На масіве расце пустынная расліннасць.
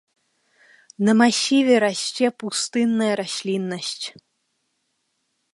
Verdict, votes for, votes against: accepted, 2, 0